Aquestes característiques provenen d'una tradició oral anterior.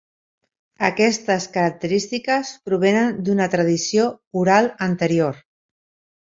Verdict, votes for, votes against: accepted, 4, 2